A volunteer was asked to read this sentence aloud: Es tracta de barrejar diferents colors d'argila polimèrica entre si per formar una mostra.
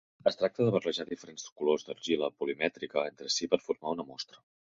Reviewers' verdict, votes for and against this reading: rejected, 1, 3